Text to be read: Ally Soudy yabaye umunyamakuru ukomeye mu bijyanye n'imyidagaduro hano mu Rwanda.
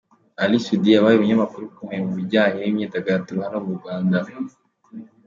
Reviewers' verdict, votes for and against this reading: accepted, 2, 0